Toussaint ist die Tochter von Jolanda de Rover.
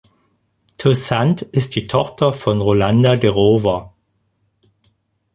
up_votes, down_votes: 2, 4